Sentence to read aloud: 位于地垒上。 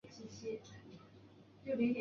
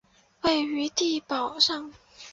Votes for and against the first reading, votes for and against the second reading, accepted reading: 1, 2, 3, 2, second